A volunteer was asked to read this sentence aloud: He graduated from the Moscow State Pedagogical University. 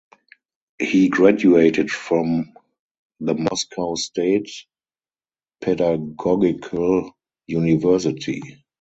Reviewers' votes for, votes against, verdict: 0, 2, rejected